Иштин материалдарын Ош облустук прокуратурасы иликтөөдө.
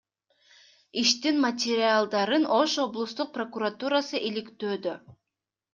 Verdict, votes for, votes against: accepted, 2, 0